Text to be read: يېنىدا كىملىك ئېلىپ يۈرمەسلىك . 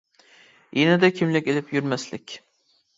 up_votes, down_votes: 2, 0